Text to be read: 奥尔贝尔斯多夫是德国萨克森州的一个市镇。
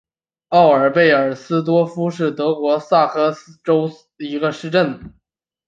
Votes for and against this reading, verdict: 4, 0, accepted